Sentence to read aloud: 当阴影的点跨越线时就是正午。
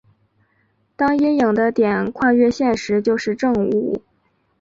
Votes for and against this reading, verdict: 2, 0, accepted